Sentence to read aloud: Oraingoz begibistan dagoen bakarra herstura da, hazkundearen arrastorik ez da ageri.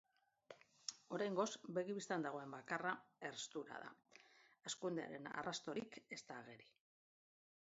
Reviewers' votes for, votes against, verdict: 2, 1, accepted